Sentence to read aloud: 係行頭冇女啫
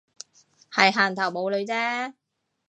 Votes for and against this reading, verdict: 2, 0, accepted